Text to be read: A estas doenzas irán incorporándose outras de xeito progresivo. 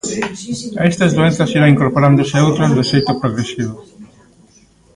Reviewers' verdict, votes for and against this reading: accepted, 2, 1